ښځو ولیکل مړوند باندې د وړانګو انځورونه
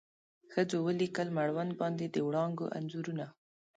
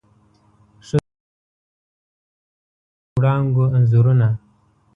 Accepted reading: first